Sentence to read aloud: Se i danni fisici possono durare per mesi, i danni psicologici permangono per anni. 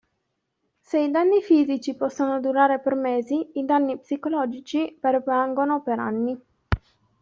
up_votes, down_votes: 0, 2